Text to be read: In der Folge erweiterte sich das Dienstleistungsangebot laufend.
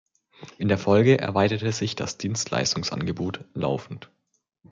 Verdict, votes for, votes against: accepted, 2, 0